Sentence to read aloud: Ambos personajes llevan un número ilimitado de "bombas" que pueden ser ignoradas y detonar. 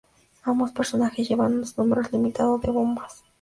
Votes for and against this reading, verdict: 0, 2, rejected